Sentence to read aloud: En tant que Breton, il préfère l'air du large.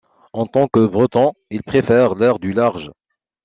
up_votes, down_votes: 2, 0